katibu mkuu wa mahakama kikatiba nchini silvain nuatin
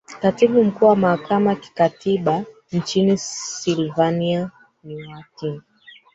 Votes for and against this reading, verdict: 0, 2, rejected